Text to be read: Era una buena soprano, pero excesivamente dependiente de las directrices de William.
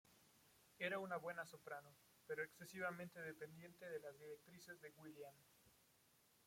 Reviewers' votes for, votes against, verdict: 0, 2, rejected